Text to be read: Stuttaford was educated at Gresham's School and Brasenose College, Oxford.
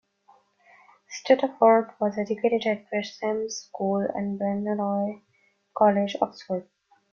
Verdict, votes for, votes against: rejected, 1, 2